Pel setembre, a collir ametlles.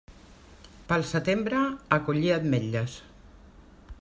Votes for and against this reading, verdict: 2, 0, accepted